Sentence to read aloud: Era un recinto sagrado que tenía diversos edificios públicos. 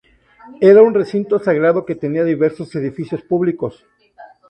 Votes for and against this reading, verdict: 2, 0, accepted